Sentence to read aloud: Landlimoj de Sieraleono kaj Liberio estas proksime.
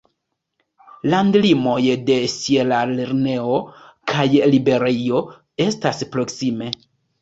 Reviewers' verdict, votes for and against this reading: rejected, 1, 3